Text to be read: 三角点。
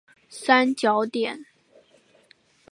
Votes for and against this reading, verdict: 4, 0, accepted